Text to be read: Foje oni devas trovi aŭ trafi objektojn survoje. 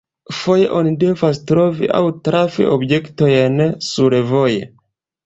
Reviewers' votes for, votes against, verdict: 2, 1, accepted